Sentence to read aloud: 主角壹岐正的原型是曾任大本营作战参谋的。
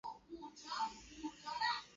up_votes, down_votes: 0, 2